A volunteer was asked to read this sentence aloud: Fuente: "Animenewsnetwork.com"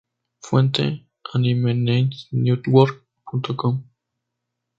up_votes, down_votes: 2, 0